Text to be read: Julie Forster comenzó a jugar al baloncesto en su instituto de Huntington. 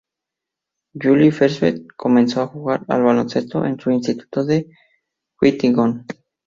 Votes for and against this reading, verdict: 0, 2, rejected